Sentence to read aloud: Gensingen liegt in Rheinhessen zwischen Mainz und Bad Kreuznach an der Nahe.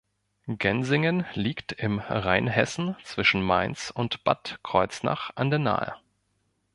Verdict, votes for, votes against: rejected, 1, 2